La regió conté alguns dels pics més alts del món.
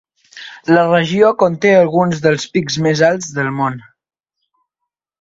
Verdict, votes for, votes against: accepted, 2, 0